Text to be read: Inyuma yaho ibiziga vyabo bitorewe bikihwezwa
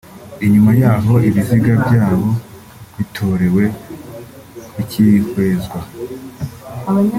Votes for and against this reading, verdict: 2, 1, accepted